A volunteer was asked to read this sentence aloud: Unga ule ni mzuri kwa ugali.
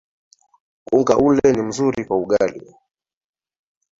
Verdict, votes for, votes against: rejected, 0, 2